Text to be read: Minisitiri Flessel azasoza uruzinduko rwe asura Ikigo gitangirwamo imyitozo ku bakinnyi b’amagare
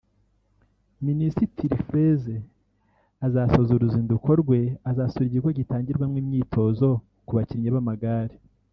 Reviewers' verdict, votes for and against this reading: rejected, 1, 2